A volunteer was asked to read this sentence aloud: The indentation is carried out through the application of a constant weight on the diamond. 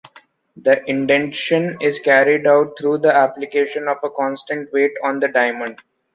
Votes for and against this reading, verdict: 0, 2, rejected